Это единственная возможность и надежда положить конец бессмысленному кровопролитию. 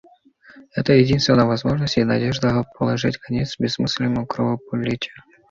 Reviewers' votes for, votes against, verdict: 2, 0, accepted